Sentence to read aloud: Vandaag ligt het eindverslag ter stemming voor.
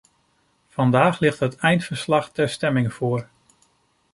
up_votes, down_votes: 2, 0